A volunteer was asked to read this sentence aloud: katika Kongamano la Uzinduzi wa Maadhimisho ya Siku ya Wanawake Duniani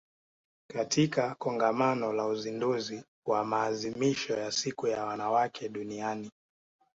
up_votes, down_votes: 2, 0